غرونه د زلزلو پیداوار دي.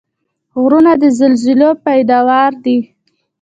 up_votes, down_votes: 2, 0